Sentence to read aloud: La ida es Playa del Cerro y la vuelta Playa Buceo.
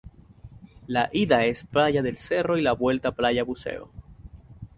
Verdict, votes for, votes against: accepted, 2, 0